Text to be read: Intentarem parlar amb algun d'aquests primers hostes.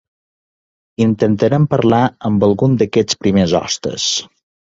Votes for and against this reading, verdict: 2, 0, accepted